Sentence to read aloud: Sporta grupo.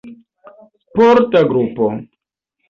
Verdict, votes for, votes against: accepted, 4, 0